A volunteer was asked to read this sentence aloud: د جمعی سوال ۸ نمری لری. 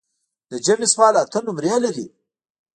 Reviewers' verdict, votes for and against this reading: rejected, 0, 2